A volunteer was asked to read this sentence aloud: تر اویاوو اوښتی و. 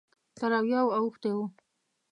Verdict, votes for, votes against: accepted, 2, 0